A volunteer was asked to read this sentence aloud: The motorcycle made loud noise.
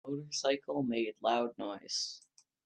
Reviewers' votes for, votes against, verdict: 0, 2, rejected